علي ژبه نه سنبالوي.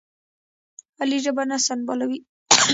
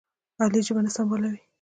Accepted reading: second